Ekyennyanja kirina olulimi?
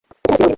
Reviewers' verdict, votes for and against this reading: rejected, 0, 2